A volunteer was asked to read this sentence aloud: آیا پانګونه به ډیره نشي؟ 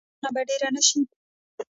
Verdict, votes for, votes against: rejected, 1, 2